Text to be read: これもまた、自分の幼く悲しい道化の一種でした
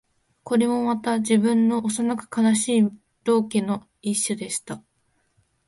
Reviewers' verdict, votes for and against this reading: accepted, 2, 0